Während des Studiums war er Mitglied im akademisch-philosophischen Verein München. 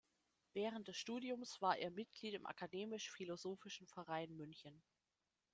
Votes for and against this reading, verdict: 2, 0, accepted